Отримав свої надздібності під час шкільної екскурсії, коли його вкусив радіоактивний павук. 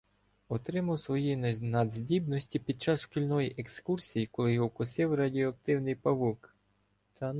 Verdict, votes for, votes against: rejected, 1, 2